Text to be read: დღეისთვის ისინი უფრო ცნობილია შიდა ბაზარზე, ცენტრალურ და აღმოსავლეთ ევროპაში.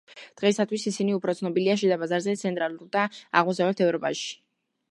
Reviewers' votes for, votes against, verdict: 2, 0, accepted